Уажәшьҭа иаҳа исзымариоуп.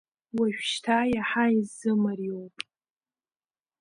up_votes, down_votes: 2, 0